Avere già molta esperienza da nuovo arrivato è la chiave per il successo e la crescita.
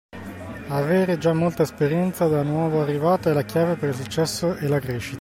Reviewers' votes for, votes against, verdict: 1, 2, rejected